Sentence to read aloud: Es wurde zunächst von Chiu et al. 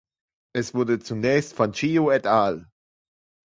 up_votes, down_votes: 2, 0